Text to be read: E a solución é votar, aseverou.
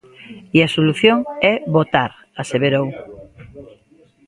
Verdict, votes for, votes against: accepted, 2, 0